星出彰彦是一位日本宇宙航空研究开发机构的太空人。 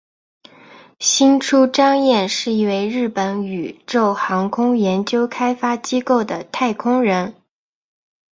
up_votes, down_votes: 5, 0